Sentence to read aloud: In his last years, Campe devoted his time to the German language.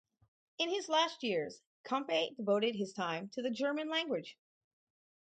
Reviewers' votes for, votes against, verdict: 2, 0, accepted